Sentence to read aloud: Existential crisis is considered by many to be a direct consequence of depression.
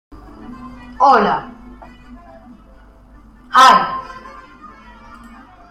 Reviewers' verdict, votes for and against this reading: rejected, 0, 2